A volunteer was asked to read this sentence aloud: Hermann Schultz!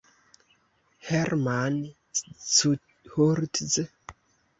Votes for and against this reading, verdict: 1, 2, rejected